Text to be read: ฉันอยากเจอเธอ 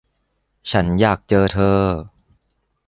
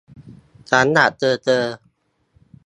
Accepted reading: first